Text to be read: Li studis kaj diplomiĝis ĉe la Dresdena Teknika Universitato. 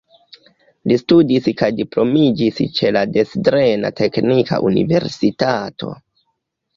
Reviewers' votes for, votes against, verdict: 3, 0, accepted